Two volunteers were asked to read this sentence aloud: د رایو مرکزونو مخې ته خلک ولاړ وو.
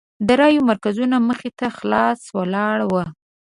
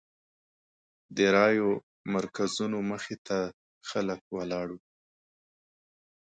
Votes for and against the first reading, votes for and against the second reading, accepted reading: 0, 2, 2, 0, second